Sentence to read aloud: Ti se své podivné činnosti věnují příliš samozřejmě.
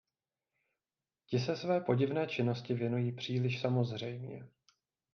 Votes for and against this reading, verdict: 2, 0, accepted